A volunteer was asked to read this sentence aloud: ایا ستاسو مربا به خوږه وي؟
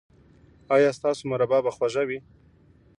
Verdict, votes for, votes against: rejected, 1, 2